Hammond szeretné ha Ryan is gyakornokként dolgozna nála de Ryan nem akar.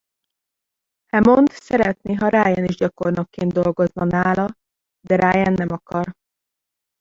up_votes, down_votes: 1, 2